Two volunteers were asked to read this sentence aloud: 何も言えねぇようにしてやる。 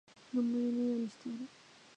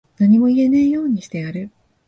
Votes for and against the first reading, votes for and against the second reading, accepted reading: 0, 3, 17, 1, second